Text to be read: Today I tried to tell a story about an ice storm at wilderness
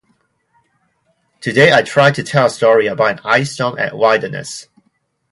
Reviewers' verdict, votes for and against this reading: rejected, 2, 2